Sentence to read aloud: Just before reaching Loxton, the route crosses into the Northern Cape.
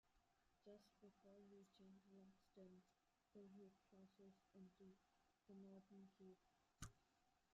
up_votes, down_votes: 0, 2